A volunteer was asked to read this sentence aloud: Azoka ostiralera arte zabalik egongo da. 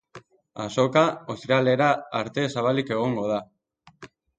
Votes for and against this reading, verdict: 2, 0, accepted